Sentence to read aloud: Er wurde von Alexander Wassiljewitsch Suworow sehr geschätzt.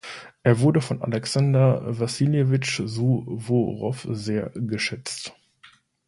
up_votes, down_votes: 2, 0